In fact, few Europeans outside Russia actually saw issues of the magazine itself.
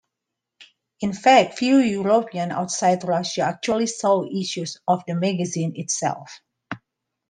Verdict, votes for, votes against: accepted, 3, 2